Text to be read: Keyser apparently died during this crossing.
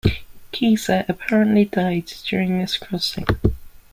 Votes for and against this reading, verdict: 2, 0, accepted